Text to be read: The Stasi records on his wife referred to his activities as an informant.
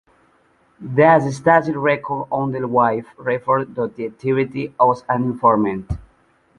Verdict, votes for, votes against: accepted, 2, 0